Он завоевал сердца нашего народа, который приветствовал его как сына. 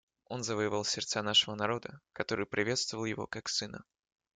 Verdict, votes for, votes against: accepted, 2, 0